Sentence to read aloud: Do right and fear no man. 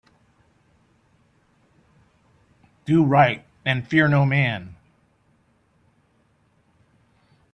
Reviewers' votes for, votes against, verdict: 2, 0, accepted